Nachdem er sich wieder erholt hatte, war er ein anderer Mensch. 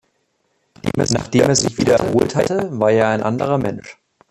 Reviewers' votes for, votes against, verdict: 0, 2, rejected